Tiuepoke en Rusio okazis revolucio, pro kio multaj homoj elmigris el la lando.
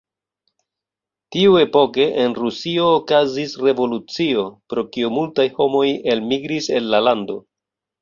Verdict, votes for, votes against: rejected, 1, 2